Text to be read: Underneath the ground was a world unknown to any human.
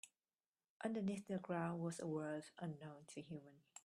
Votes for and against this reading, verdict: 0, 3, rejected